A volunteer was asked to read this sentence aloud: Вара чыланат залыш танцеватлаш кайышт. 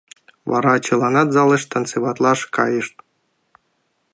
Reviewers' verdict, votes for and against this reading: accepted, 2, 0